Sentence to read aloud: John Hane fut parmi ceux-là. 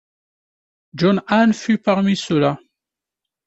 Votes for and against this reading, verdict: 2, 0, accepted